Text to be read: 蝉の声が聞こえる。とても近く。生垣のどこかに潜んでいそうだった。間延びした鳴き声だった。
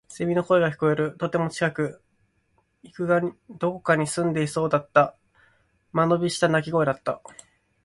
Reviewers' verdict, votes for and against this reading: rejected, 0, 2